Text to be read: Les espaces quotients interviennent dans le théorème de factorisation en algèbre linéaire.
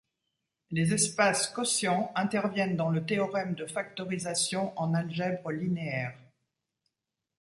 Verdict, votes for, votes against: accepted, 2, 0